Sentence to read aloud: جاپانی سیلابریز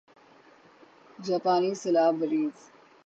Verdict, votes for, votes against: accepted, 6, 0